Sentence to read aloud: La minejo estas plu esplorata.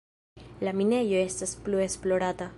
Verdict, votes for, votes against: rejected, 1, 2